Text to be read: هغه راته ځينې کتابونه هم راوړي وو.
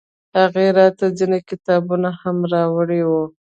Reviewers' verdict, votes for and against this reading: accepted, 2, 0